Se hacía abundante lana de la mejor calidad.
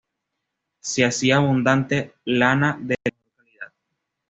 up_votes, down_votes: 1, 2